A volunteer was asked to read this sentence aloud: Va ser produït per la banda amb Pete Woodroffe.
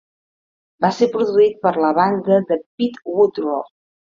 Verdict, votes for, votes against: rejected, 0, 2